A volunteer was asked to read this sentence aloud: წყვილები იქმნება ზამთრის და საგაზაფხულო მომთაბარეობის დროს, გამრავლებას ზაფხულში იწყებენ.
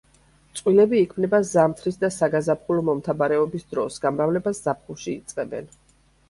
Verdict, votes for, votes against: accepted, 2, 0